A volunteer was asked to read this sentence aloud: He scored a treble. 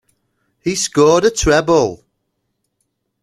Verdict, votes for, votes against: accepted, 2, 0